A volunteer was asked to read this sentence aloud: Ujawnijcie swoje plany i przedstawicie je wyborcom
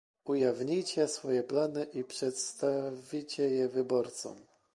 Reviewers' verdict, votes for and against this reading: rejected, 0, 2